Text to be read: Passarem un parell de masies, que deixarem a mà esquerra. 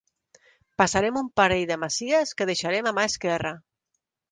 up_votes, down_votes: 3, 0